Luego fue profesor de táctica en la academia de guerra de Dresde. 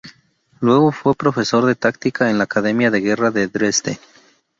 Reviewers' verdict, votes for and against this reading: accepted, 2, 0